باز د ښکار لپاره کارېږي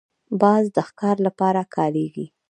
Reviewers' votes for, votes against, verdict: 2, 0, accepted